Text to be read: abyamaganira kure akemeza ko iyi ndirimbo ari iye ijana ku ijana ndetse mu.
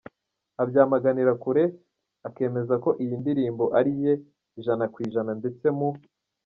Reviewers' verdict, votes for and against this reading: rejected, 1, 2